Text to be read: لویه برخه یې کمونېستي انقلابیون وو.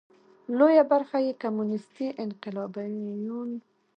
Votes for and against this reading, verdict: 0, 2, rejected